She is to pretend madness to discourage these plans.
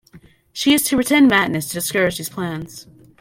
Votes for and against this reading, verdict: 2, 0, accepted